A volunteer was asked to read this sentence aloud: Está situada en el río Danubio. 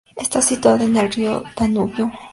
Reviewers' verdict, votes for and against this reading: accepted, 2, 0